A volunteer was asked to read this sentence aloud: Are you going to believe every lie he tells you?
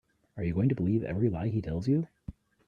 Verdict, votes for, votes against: accepted, 3, 0